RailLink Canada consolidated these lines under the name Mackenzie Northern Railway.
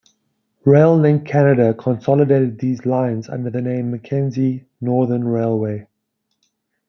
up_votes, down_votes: 2, 0